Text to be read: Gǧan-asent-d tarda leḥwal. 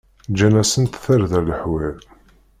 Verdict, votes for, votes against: rejected, 1, 2